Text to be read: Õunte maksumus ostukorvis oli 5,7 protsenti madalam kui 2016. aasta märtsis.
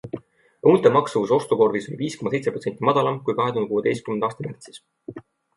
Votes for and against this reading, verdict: 0, 2, rejected